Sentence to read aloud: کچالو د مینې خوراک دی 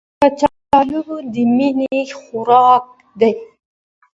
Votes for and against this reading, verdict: 2, 0, accepted